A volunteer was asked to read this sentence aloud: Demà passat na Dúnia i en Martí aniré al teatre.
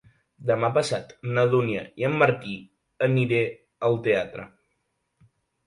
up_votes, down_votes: 2, 0